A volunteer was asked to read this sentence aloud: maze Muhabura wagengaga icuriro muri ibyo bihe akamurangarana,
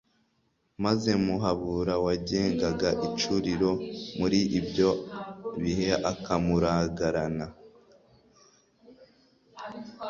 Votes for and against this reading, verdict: 1, 2, rejected